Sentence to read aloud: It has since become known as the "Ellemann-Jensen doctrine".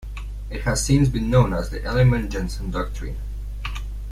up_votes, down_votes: 0, 2